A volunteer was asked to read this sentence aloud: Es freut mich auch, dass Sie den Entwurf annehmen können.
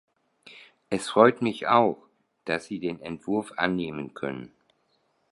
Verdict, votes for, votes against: accepted, 2, 0